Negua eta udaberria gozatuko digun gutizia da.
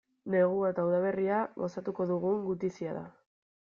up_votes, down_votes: 2, 0